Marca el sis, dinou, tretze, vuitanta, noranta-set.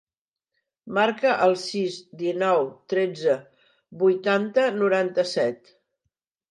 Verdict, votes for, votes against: accepted, 2, 0